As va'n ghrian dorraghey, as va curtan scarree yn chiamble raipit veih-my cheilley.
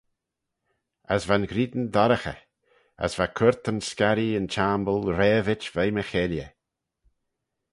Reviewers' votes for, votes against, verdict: 4, 0, accepted